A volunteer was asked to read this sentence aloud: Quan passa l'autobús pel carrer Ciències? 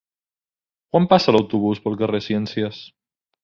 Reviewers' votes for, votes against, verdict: 2, 1, accepted